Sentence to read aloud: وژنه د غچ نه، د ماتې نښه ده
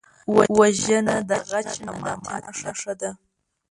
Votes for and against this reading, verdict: 1, 2, rejected